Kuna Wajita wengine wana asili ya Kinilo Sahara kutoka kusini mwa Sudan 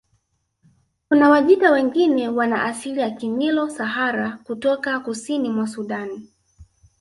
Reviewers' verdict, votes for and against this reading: accepted, 2, 0